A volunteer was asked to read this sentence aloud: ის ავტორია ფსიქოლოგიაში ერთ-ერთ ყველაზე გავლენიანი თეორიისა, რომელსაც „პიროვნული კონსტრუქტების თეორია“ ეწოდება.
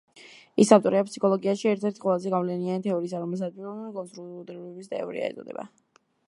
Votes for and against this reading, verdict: 0, 2, rejected